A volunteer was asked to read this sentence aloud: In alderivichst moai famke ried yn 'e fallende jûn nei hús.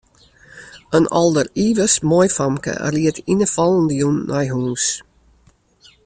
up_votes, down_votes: 2, 0